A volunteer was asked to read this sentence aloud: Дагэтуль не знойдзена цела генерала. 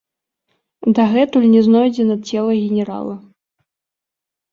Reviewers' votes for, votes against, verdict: 0, 2, rejected